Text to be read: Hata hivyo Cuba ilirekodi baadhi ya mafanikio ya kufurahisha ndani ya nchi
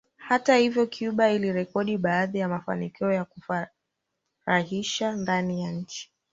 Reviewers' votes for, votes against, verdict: 0, 2, rejected